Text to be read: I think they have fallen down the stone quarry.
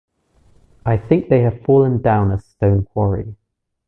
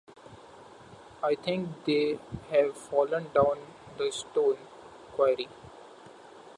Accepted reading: first